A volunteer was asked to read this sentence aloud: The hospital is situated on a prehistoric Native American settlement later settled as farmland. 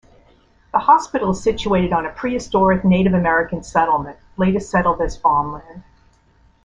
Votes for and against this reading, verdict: 2, 0, accepted